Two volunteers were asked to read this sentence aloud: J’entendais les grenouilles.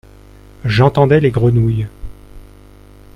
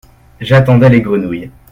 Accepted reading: first